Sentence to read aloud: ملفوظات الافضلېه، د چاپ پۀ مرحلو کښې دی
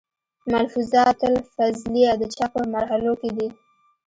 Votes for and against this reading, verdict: 0, 2, rejected